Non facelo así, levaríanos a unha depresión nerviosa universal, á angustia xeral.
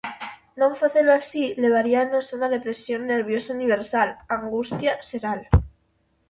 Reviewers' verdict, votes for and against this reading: accepted, 2, 0